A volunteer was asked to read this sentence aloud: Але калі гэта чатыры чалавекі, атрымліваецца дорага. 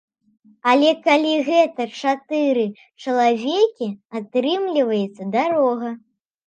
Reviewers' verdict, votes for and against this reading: rejected, 0, 2